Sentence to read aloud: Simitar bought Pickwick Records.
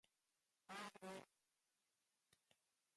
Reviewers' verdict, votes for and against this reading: rejected, 0, 2